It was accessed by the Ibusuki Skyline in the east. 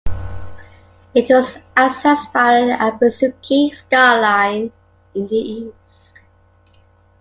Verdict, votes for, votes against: accepted, 2, 1